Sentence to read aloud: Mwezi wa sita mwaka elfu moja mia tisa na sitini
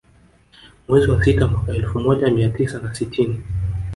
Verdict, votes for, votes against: rejected, 0, 2